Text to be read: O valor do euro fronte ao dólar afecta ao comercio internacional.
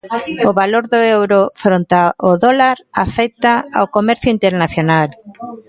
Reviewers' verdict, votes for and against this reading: rejected, 1, 2